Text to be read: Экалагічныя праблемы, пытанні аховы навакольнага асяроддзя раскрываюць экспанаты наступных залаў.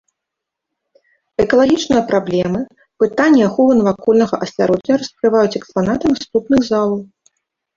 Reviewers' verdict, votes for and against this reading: accepted, 2, 0